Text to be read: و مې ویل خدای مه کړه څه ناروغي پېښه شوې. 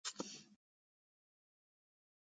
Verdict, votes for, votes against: rejected, 1, 2